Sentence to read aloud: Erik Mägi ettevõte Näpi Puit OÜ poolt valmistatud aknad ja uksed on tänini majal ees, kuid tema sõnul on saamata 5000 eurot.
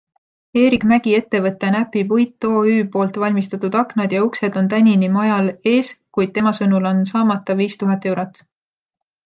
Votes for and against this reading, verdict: 0, 2, rejected